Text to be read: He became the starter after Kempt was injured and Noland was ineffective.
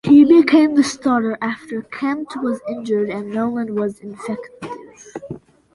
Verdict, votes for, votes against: accepted, 2, 0